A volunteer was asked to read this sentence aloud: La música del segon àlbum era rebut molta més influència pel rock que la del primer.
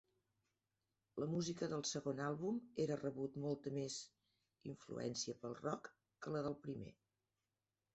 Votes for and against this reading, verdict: 0, 2, rejected